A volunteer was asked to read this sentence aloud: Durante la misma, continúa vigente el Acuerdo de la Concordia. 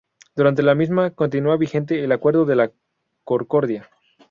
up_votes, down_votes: 0, 2